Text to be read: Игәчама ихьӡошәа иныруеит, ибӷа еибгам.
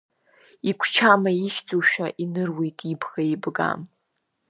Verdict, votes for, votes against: accepted, 2, 0